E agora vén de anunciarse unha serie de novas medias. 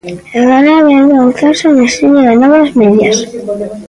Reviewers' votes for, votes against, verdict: 0, 2, rejected